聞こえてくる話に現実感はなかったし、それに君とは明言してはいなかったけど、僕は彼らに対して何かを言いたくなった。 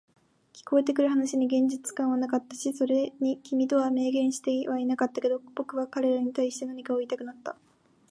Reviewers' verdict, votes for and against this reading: rejected, 0, 2